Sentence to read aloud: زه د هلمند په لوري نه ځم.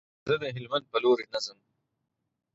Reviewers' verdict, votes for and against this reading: accepted, 6, 0